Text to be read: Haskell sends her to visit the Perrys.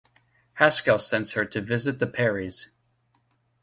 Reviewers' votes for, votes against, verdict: 2, 0, accepted